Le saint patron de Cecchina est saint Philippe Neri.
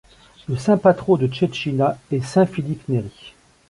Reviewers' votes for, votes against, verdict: 1, 2, rejected